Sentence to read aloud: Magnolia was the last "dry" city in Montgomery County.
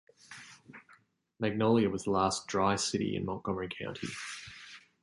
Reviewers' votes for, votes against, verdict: 2, 0, accepted